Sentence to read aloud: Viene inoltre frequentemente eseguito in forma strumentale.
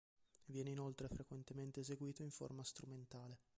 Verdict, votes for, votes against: rejected, 1, 2